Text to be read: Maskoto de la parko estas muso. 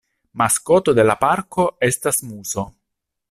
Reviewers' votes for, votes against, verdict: 2, 0, accepted